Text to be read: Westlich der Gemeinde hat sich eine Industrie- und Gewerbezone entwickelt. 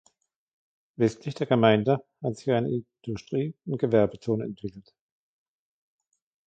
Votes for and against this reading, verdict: 2, 1, accepted